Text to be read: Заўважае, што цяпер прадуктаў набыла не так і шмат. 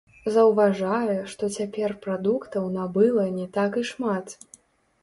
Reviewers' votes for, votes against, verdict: 0, 2, rejected